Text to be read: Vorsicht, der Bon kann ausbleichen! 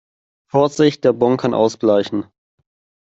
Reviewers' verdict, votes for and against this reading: accepted, 2, 0